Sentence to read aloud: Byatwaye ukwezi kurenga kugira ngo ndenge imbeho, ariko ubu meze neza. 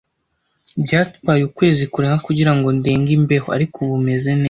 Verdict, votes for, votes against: rejected, 1, 2